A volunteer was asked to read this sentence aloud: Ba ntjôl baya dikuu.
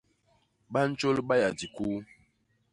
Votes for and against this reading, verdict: 1, 2, rejected